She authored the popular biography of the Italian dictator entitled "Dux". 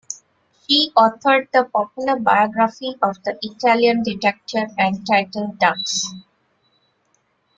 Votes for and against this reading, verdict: 0, 2, rejected